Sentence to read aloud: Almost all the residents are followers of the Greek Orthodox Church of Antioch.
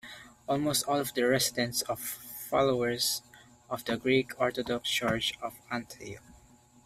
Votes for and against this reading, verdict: 2, 0, accepted